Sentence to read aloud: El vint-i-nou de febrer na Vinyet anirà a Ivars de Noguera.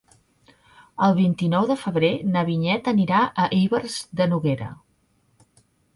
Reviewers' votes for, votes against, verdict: 1, 2, rejected